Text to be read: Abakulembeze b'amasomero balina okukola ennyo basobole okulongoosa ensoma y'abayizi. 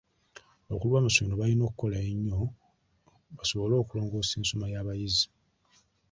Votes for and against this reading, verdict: 0, 2, rejected